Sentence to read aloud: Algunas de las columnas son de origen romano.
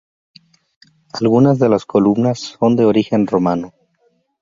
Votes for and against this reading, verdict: 2, 2, rejected